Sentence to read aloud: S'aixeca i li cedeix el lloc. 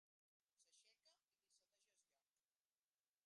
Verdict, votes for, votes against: rejected, 0, 3